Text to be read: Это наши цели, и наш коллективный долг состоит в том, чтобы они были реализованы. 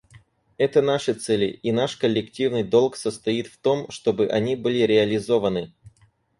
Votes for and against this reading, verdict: 4, 0, accepted